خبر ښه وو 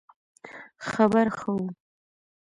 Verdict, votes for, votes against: accepted, 2, 0